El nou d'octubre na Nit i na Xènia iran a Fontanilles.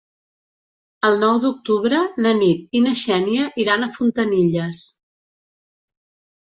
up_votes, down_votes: 3, 0